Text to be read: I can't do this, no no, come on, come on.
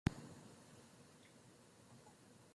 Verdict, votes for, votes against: rejected, 0, 2